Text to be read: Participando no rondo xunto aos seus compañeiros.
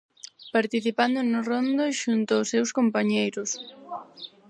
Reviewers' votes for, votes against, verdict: 4, 0, accepted